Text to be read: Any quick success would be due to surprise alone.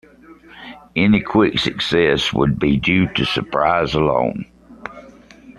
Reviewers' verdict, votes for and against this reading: accepted, 3, 2